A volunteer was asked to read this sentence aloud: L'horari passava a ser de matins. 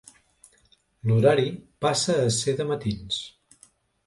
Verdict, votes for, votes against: rejected, 1, 2